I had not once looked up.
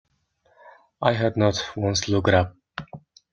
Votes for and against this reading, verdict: 1, 2, rejected